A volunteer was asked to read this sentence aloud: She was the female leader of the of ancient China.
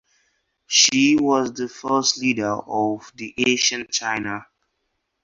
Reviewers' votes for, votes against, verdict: 0, 2, rejected